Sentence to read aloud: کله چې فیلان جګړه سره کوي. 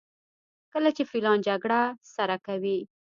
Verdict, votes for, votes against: accepted, 2, 0